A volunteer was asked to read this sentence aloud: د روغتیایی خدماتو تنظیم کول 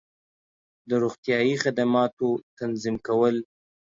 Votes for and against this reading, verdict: 2, 0, accepted